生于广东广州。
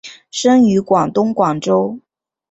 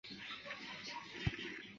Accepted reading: first